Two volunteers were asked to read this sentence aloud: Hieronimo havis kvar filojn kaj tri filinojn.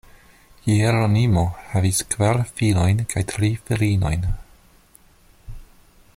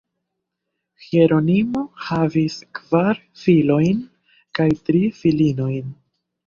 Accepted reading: first